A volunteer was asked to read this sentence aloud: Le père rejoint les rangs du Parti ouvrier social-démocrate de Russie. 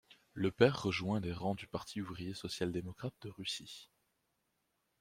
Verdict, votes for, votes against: accepted, 2, 0